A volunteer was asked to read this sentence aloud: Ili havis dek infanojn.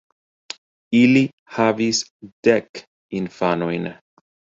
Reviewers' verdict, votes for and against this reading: accepted, 2, 0